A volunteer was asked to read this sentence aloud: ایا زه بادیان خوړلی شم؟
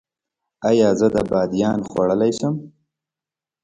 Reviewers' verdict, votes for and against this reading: rejected, 1, 2